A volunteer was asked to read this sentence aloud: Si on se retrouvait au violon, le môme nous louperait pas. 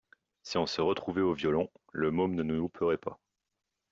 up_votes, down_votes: 2, 1